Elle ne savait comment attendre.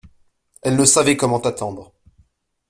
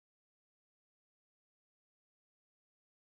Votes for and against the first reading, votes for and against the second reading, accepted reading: 2, 0, 0, 2, first